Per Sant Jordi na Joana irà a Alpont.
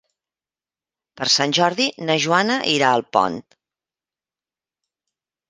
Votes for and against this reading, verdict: 2, 0, accepted